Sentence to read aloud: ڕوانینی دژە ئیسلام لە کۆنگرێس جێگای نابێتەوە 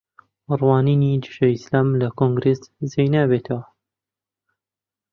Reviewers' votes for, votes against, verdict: 1, 2, rejected